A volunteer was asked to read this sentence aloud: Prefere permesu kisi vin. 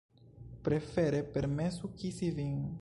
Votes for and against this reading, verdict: 2, 1, accepted